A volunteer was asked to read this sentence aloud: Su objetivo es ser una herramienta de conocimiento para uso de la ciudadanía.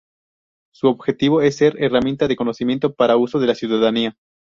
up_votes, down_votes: 0, 2